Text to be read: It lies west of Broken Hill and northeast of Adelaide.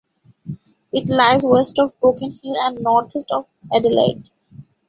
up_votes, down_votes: 2, 1